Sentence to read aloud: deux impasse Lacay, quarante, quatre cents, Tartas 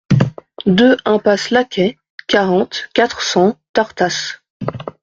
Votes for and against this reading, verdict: 2, 0, accepted